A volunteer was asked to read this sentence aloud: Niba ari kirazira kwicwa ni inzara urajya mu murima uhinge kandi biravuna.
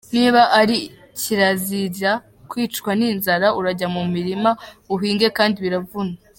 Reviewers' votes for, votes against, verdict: 2, 0, accepted